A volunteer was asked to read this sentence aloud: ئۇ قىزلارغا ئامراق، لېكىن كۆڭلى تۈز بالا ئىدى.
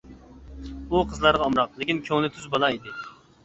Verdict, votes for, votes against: accepted, 2, 0